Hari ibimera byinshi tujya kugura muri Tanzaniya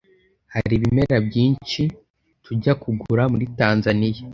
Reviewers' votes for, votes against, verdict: 2, 0, accepted